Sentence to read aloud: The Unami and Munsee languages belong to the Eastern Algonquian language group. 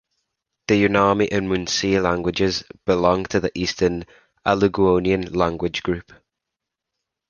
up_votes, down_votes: 1, 2